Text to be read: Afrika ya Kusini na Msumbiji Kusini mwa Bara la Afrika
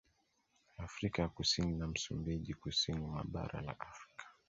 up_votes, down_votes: 2, 1